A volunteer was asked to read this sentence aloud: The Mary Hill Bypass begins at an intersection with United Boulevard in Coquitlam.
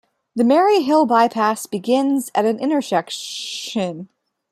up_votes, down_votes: 0, 2